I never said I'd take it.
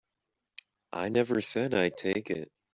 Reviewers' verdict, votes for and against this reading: accepted, 2, 0